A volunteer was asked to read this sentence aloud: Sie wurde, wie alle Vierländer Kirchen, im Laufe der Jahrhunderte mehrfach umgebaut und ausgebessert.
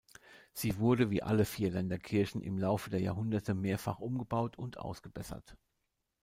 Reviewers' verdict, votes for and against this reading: accepted, 2, 0